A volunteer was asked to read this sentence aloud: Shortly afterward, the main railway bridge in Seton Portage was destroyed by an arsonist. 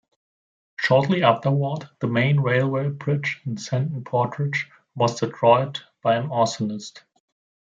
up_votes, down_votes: 2, 1